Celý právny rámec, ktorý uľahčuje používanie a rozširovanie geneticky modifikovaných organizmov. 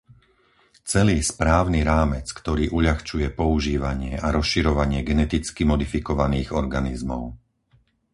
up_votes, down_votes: 0, 4